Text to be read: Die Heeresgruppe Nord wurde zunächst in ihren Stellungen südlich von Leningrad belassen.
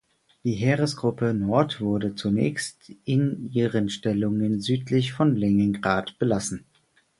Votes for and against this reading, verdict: 4, 0, accepted